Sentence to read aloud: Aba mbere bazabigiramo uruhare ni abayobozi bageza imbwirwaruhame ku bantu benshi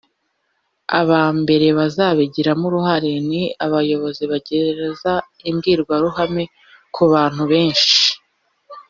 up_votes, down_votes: 1, 2